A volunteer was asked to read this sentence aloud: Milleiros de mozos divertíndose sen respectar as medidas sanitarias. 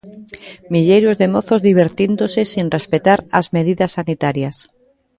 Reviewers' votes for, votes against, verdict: 1, 2, rejected